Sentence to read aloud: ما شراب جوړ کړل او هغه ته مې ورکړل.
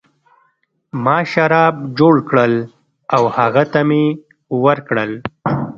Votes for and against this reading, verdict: 1, 2, rejected